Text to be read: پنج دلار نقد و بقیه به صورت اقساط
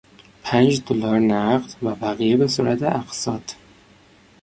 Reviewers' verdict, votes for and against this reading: accepted, 2, 0